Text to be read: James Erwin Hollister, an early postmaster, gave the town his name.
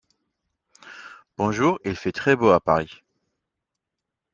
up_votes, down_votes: 0, 2